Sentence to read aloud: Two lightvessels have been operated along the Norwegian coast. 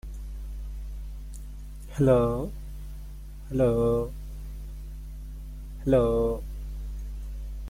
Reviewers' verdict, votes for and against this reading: rejected, 0, 2